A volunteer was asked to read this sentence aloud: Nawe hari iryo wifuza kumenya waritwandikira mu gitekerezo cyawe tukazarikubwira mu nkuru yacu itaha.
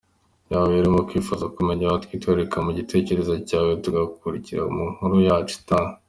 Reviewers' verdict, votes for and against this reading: rejected, 1, 2